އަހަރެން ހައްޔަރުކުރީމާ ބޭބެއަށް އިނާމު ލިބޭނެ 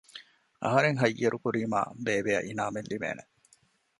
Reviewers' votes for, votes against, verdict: 1, 2, rejected